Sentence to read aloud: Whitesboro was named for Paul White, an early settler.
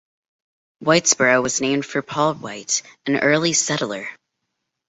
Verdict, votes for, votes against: accepted, 2, 1